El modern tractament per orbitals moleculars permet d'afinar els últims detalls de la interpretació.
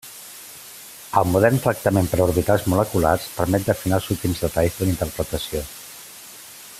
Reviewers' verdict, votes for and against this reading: accepted, 2, 1